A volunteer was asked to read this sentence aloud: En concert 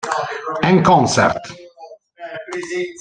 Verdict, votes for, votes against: rejected, 1, 2